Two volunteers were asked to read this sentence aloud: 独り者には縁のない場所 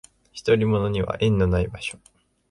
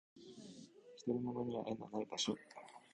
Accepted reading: first